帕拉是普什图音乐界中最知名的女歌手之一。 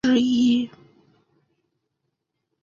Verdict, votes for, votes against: rejected, 1, 2